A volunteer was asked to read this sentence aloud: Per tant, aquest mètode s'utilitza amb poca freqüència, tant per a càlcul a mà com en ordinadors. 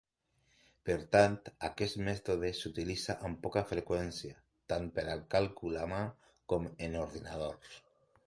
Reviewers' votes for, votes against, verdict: 2, 0, accepted